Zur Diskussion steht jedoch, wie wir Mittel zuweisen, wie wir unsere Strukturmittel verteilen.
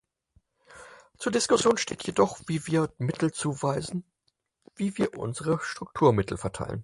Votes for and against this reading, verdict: 2, 4, rejected